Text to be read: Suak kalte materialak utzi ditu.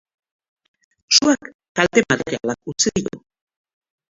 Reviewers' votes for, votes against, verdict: 1, 2, rejected